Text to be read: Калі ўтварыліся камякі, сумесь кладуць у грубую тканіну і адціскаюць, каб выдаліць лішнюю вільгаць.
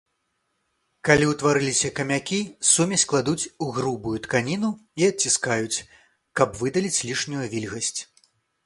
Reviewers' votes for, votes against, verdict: 1, 2, rejected